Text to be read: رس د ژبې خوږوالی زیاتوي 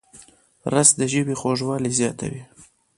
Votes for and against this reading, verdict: 1, 2, rejected